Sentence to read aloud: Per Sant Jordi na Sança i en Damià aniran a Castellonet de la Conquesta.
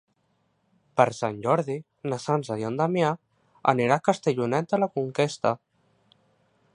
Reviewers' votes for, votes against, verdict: 3, 0, accepted